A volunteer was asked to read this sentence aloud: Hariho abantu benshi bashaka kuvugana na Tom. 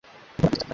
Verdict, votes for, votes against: rejected, 0, 2